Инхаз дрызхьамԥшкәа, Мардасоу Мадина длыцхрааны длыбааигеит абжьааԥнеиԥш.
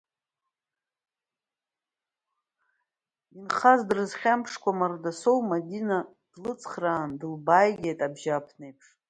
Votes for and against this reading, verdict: 2, 0, accepted